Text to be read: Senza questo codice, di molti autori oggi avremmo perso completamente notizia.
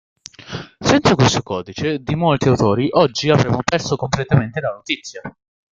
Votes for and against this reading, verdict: 1, 2, rejected